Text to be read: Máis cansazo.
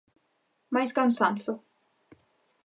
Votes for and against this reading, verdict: 0, 2, rejected